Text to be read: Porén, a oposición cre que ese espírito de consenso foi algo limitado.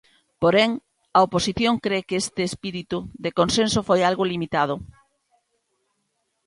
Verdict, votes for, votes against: rejected, 1, 2